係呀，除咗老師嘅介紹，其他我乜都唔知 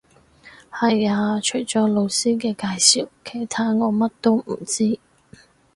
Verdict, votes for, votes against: accepted, 4, 0